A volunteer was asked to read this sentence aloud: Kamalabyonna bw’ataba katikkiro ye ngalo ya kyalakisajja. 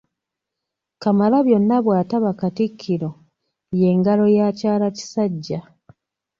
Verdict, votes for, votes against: accepted, 2, 0